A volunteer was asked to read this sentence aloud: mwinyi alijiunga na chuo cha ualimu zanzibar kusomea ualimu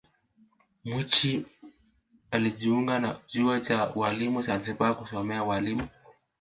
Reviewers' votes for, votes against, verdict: 1, 2, rejected